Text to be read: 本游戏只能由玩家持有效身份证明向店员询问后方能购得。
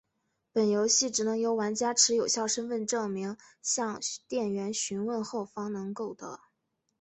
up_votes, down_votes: 4, 0